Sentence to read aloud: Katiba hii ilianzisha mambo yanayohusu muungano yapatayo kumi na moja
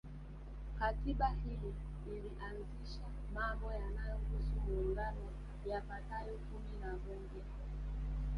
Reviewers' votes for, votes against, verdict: 1, 2, rejected